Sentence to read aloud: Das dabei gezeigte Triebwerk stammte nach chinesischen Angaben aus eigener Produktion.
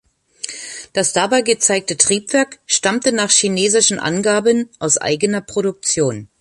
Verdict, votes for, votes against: rejected, 1, 2